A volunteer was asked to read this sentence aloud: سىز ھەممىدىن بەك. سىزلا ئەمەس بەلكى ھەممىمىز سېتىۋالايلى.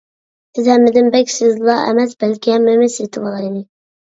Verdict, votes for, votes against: rejected, 0, 2